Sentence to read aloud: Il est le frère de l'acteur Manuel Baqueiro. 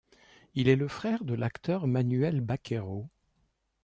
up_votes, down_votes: 2, 0